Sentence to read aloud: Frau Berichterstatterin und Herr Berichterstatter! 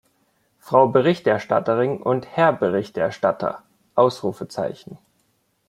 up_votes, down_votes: 1, 2